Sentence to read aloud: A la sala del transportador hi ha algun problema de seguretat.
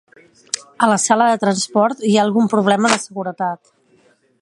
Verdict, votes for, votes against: rejected, 0, 2